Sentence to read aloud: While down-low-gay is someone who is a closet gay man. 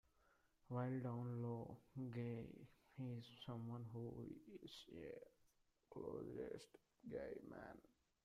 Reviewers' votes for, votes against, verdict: 0, 2, rejected